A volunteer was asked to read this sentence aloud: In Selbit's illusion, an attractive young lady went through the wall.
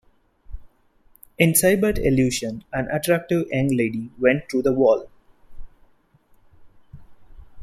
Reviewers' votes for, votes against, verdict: 0, 2, rejected